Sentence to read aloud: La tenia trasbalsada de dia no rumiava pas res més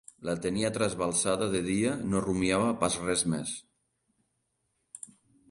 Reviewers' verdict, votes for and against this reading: accepted, 2, 0